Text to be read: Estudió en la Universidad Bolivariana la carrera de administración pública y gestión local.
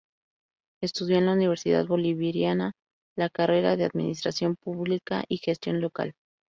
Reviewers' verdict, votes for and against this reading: accepted, 2, 0